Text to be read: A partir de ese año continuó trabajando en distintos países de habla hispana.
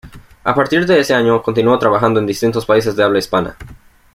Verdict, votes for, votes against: accepted, 2, 0